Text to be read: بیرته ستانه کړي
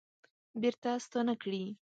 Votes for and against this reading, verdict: 2, 0, accepted